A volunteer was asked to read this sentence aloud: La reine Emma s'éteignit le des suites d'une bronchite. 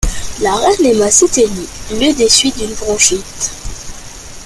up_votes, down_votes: 3, 0